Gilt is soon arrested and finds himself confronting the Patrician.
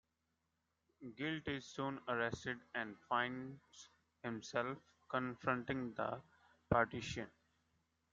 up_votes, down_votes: 1, 2